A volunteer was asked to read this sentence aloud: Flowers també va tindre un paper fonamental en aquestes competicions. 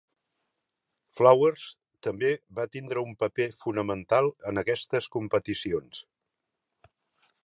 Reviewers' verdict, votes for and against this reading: accepted, 3, 0